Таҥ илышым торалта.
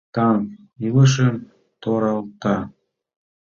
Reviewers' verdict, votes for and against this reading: rejected, 0, 2